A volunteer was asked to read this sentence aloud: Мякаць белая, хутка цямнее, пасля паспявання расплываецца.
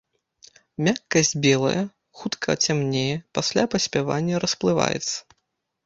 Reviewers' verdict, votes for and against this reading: rejected, 0, 2